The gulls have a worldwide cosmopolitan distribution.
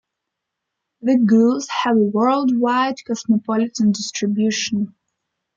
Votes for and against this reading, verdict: 2, 1, accepted